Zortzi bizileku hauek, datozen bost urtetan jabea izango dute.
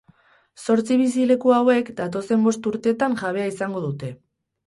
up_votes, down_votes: 4, 0